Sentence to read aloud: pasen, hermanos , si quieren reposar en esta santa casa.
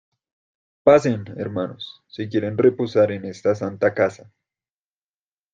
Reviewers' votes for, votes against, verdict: 2, 0, accepted